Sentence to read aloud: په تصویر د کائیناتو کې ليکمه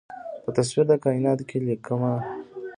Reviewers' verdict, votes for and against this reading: rejected, 1, 2